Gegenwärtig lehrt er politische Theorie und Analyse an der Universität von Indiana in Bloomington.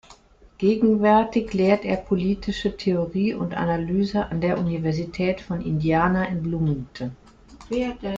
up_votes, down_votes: 1, 2